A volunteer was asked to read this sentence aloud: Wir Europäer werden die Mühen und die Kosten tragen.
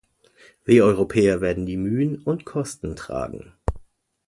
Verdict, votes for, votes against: rejected, 1, 2